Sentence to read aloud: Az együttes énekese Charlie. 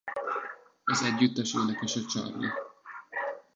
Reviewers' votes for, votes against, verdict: 1, 2, rejected